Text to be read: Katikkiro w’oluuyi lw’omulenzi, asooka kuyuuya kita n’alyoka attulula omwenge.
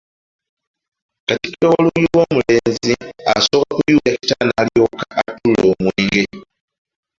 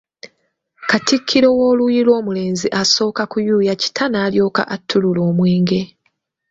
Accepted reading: second